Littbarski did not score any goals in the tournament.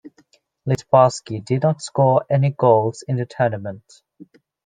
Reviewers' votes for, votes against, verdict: 2, 0, accepted